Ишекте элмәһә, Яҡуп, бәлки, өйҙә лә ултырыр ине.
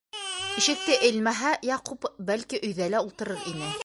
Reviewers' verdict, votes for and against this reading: rejected, 0, 2